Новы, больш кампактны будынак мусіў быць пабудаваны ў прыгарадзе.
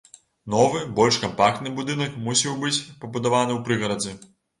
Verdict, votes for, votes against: accepted, 2, 0